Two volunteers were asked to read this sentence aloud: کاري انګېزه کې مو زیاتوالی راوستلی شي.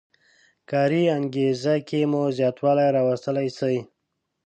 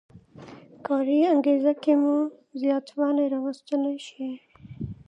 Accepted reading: second